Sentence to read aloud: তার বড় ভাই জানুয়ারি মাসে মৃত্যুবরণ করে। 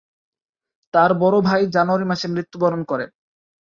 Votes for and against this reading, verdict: 3, 0, accepted